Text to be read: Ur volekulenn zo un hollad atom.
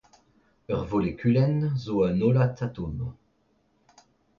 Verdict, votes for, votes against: accepted, 2, 0